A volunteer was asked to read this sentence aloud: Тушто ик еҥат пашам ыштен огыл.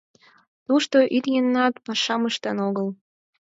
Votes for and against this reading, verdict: 2, 4, rejected